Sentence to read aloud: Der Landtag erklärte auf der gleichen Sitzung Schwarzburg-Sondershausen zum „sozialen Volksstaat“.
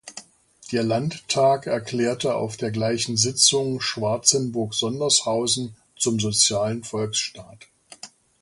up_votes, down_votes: 0, 2